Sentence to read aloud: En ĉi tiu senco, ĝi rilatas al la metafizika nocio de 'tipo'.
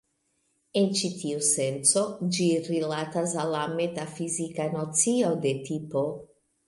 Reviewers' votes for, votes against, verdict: 2, 1, accepted